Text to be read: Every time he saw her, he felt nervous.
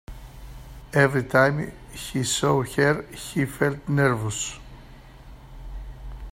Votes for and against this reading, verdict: 2, 0, accepted